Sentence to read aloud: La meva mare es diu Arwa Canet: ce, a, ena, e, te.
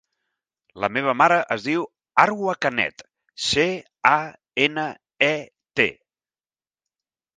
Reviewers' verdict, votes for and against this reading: accepted, 5, 0